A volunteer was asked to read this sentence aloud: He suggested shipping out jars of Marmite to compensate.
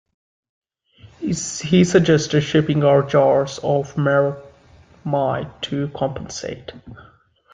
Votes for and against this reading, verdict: 0, 2, rejected